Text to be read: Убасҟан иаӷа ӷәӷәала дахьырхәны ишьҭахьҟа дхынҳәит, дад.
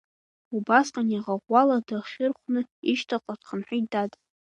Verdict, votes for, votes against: accepted, 2, 0